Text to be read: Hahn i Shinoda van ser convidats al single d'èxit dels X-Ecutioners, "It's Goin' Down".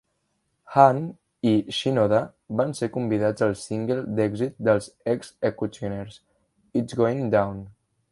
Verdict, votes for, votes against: rejected, 0, 2